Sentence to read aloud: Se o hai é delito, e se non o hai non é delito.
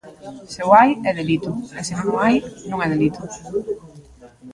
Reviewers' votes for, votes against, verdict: 1, 2, rejected